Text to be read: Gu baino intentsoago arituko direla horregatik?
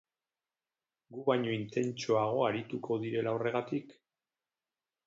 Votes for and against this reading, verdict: 0, 2, rejected